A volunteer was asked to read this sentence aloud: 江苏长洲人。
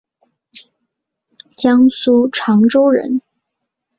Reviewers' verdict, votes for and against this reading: accepted, 2, 1